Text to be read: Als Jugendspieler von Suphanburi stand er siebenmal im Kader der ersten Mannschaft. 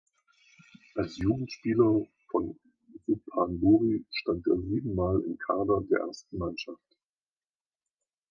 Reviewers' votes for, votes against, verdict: 1, 2, rejected